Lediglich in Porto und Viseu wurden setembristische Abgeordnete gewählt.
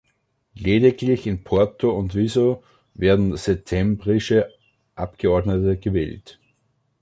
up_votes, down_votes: 0, 2